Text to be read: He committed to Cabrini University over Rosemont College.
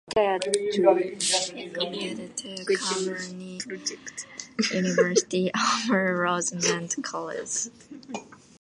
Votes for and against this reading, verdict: 2, 0, accepted